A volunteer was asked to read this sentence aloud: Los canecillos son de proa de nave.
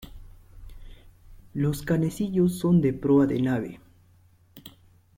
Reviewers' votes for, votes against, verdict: 1, 2, rejected